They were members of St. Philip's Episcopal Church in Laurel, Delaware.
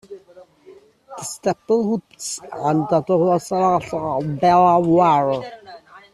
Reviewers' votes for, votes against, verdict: 0, 2, rejected